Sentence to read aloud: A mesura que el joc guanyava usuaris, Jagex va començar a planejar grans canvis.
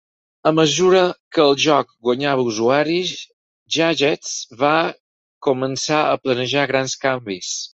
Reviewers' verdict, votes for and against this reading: rejected, 2, 4